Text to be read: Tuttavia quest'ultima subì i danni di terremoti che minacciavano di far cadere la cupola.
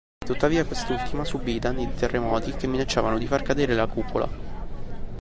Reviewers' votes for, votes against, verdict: 2, 0, accepted